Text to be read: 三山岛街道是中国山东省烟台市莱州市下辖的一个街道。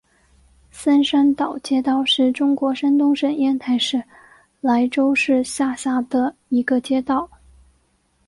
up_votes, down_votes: 2, 0